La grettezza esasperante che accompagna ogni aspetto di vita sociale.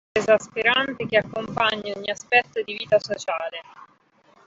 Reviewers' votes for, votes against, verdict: 0, 2, rejected